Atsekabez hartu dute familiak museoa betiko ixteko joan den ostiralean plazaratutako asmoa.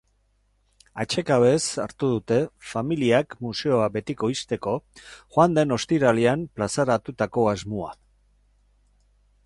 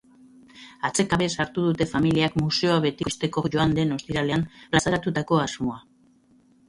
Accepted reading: first